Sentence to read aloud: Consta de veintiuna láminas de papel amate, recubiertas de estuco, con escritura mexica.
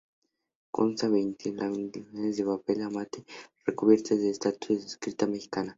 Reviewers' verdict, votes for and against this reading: rejected, 0, 2